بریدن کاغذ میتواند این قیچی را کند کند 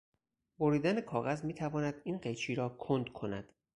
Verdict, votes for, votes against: accepted, 4, 0